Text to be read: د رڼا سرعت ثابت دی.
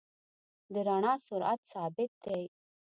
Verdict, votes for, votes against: accepted, 2, 0